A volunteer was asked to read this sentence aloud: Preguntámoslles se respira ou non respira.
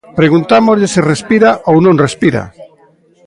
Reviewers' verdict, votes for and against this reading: rejected, 1, 2